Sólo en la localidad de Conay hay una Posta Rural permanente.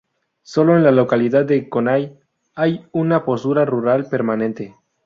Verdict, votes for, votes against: rejected, 0, 4